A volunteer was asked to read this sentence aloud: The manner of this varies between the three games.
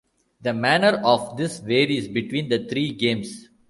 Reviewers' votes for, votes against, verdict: 2, 0, accepted